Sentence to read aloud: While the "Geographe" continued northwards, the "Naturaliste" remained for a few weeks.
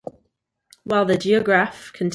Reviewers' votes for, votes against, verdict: 0, 2, rejected